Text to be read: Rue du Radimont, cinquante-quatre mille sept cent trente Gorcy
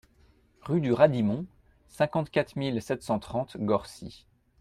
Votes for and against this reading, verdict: 2, 0, accepted